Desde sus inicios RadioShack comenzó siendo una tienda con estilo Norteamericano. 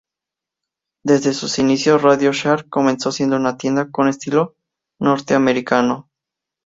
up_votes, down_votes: 2, 0